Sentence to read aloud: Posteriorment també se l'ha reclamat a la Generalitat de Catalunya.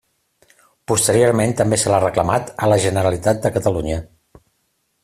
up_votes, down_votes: 3, 0